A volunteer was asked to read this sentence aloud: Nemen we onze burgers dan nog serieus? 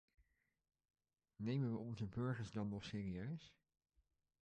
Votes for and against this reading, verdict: 2, 0, accepted